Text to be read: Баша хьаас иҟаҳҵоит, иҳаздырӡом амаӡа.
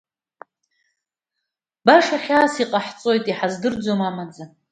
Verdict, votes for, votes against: accepted, 2, 0